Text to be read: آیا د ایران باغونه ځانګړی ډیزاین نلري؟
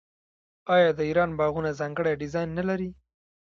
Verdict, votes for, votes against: rejected, 1, 2